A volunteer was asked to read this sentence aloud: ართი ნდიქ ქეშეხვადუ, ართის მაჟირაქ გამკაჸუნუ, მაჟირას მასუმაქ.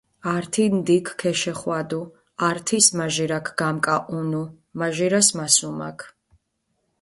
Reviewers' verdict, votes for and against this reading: accepted, 2, 1